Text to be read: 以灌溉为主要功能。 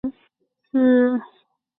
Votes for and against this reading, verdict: 1, 2, rejected